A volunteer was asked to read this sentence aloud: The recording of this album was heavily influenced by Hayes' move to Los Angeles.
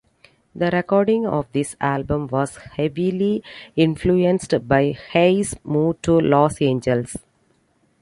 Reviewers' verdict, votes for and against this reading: accepted, 2, 1